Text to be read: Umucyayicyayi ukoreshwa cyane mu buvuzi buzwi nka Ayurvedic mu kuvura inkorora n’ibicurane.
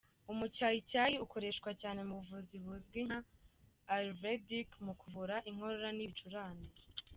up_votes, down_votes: 2, 0